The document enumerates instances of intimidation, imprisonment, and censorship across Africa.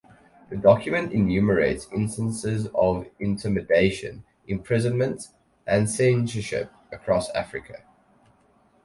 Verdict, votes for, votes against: accepted, 4, 0